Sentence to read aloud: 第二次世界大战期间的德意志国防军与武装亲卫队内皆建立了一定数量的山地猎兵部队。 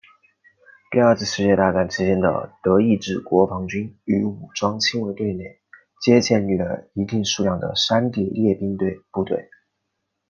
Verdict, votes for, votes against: accepted, 2, 0